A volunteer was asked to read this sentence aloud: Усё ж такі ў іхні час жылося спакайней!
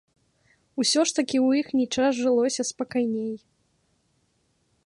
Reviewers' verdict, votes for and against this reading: accepted, 2, 0